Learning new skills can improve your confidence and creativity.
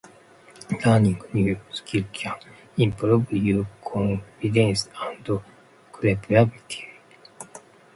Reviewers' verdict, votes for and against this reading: rejected, 0, 2